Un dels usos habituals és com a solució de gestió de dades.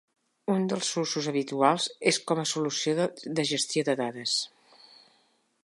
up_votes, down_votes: 1, 2